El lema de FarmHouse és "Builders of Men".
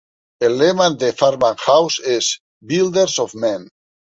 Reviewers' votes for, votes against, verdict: 0, 2, rejected